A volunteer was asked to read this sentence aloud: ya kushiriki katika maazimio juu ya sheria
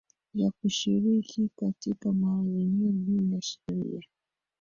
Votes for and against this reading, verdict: 2, 3, rejected